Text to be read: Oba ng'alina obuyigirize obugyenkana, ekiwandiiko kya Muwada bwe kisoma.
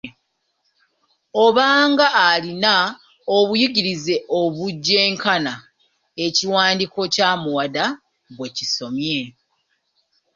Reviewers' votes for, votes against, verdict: 0, 2, rejected